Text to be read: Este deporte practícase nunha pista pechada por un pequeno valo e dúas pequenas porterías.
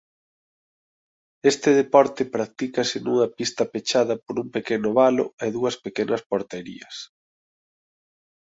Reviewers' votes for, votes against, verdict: 2, 0, accepted